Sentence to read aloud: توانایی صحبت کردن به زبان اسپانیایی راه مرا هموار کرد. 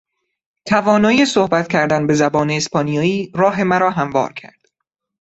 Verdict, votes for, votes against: accepted, 2, 0